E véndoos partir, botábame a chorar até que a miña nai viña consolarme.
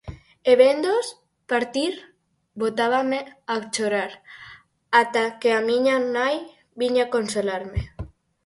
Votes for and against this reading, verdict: 0, 4, rejected